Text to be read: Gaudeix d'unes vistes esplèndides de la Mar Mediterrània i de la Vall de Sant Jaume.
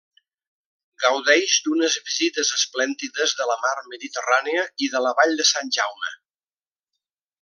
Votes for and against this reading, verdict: 1, 2, rejected